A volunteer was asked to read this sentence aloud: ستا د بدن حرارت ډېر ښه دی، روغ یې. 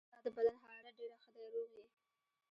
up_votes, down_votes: 1, 2